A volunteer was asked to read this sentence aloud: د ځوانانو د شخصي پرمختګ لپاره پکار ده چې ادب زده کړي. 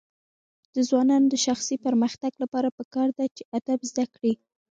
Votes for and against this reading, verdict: 1, 2, rejected